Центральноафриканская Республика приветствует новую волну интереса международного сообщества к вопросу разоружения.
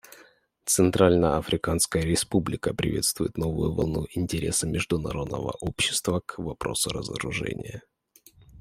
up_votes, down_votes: 1, 2